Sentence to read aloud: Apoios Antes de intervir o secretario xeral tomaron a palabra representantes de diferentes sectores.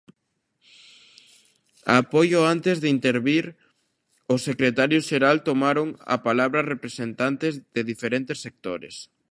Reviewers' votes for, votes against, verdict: 1, 2, rejected